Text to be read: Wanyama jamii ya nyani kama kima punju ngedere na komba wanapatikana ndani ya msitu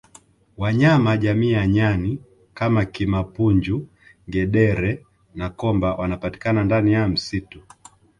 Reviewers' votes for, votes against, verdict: 1, 2, rejected